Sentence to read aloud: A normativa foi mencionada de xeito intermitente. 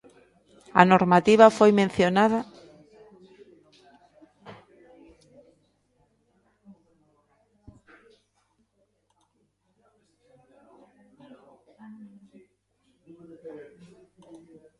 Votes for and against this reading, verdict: 0, 2, rejected